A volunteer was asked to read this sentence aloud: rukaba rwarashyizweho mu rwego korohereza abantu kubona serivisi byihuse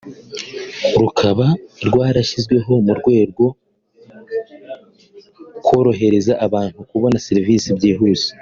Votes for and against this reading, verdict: 0, 2, rejected